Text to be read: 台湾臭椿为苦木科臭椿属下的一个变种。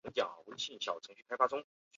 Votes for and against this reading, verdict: 0, 2, rejected